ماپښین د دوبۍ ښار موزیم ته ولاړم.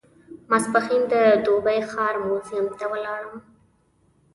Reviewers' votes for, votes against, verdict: 2, 0, accepted